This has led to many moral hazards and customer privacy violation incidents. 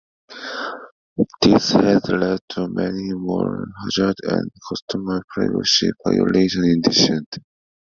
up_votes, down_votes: 1, 2